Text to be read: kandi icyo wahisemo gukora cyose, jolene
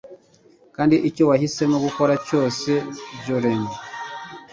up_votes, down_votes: 2, 0